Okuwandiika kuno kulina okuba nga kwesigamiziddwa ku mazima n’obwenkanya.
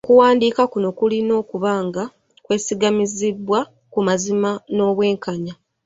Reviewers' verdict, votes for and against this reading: accepted, 3, 1